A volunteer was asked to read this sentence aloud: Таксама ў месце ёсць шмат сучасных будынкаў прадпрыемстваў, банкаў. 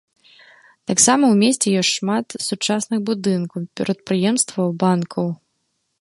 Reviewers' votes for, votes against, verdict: 3, 4, rejected